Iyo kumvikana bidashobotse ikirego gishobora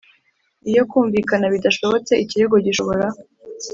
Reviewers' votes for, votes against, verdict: 2, 0, accepted